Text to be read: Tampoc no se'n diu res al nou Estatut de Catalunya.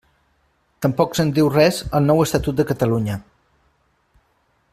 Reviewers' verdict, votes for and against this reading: rejected, 0, 2